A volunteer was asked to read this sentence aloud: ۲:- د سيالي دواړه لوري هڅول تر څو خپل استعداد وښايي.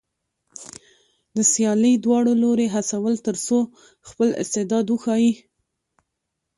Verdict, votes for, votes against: rejected, 0, 2